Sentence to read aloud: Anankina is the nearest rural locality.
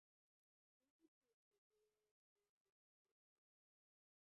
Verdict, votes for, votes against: rejected, 0, 2